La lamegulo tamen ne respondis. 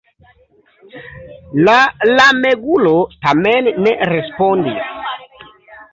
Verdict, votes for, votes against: accepted, 3, 0